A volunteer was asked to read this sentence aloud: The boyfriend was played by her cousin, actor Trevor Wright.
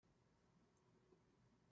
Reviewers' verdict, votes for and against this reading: rejected, 0, 2